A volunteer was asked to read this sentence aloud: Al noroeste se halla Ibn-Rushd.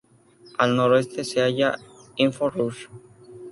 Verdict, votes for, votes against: rejected, 0, 4